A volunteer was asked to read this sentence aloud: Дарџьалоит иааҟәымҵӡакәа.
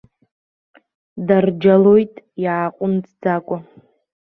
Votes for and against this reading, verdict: 1, 2, rejected